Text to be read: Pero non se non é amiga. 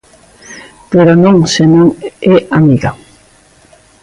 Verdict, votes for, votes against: rejected, 1, 2